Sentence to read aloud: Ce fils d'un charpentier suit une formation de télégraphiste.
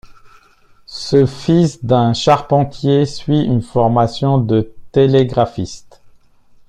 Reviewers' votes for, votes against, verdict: 2, 0, accepted